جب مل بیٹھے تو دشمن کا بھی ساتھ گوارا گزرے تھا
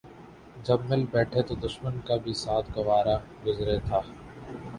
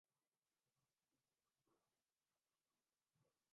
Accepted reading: first